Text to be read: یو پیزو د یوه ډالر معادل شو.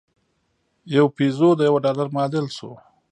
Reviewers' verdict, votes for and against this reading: rejected, 1, 2